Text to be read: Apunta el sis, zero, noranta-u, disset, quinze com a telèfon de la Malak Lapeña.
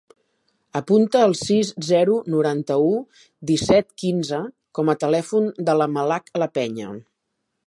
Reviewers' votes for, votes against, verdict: 3, 0, accepted